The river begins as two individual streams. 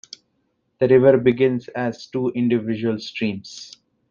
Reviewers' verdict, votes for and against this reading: accepted, 2, 0